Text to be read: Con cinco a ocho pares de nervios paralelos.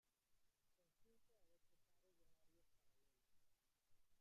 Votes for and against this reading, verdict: 0, 2, rejected